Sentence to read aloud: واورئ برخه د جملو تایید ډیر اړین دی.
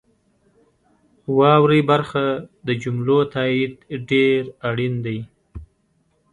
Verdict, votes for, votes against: accepted, 2, 0